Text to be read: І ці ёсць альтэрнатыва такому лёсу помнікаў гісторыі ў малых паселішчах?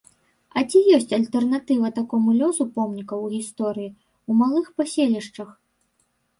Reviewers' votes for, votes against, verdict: 0, 2, rejected